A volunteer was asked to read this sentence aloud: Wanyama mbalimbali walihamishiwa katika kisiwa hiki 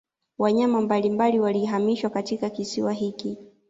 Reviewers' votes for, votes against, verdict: 2, 1, accepted